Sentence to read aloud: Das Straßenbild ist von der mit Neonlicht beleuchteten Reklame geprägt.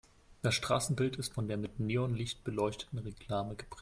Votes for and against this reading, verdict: 2, 1, accepted